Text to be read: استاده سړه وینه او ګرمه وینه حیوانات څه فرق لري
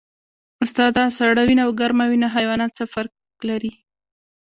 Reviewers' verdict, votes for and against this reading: accepted, 2, 1